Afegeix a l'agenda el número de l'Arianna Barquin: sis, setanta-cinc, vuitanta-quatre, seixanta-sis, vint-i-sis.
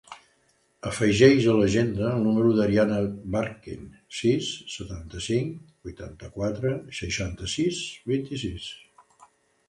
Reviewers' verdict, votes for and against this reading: rejected, 1, 2